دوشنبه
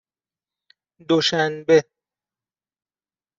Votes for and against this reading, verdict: 2, 0, accepted